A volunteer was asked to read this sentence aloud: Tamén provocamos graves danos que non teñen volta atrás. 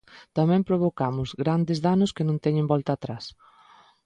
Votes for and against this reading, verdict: 1, 2, rejected